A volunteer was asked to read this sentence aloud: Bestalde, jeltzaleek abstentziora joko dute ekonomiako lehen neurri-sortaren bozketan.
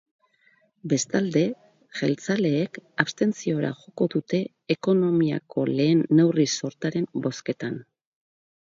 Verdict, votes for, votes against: rejected, 0, 2